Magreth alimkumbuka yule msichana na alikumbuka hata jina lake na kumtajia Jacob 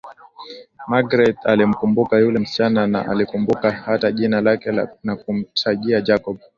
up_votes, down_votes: 2, 0